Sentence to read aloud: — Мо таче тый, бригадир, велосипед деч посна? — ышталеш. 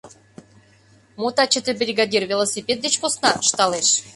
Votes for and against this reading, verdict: 2, 0, accepted